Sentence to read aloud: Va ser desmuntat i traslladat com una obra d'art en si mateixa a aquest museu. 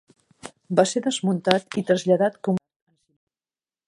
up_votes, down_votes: 0, 2